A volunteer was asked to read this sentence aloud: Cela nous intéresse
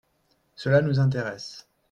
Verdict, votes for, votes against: accepted, 3, 0